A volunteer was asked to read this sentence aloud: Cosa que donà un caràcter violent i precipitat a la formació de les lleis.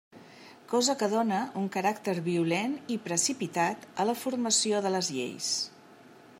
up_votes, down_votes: 0, 2